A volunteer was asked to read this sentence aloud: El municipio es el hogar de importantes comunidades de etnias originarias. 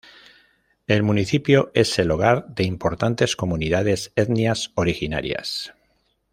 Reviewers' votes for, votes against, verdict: 1, 2, rejected